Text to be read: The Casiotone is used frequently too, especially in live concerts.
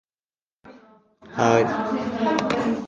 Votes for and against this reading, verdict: 0, 2, rejected